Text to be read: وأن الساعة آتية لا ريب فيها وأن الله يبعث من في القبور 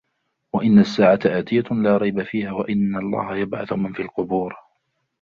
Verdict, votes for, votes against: rejected, 2, 3